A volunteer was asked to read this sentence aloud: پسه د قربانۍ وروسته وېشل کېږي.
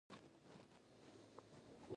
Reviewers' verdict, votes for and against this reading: rejected, 1, 2